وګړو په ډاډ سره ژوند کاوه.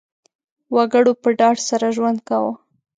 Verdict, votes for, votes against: accepted, 2, 1